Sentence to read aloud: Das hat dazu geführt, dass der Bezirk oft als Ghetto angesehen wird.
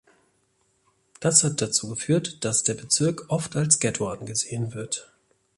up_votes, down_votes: 3, 0